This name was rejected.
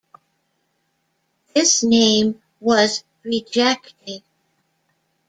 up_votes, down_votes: 2, 1